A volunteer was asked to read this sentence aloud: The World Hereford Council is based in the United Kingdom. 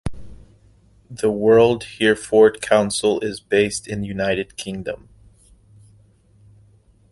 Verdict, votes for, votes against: accepted, 2, 0